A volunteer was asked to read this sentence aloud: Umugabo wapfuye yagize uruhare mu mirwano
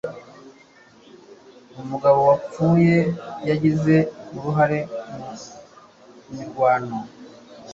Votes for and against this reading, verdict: 2, 0, accepted